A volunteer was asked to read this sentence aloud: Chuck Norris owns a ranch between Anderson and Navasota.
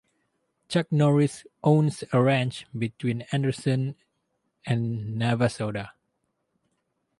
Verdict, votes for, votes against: accepted, 4, 0